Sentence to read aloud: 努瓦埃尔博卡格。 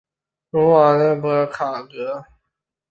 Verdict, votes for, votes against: rejected, 0, 4